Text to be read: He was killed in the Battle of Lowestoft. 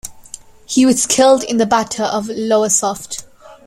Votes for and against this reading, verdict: 2, 0, accepted